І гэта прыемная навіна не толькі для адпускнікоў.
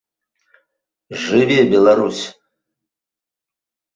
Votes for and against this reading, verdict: 0, 2, rejected